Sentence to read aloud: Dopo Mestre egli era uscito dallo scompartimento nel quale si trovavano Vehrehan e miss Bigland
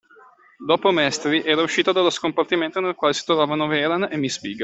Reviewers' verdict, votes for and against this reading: rejected, 0, 2